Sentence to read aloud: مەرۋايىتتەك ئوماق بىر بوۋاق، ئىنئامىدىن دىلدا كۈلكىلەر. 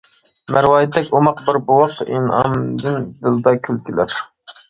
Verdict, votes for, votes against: accepted, 2, 0